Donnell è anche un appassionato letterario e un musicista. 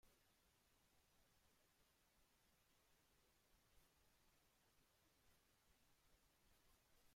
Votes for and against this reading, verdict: 0, 2, rejected